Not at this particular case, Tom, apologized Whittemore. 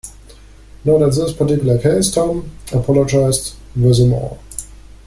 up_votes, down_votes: 0, 2